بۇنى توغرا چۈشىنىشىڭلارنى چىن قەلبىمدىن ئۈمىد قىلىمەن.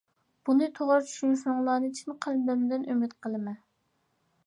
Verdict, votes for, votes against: rejected, 1, 2